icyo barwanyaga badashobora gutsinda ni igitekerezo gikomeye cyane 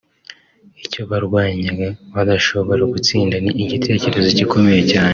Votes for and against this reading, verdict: 0, 2, rejected